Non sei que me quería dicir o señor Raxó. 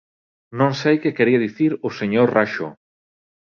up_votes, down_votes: 2, 1